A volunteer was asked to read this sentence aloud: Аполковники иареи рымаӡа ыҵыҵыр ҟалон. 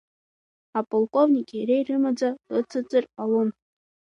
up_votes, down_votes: 0, 2